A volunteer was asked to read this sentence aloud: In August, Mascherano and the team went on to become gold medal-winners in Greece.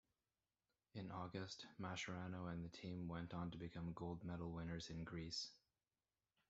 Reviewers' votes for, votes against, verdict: 2, 0, accepted